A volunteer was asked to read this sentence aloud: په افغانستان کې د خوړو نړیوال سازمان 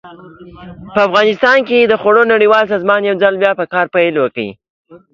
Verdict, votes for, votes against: rejected, 0, 2